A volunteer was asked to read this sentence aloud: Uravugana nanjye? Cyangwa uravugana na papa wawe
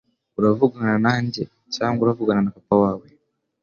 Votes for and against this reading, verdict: 3, 0, accepted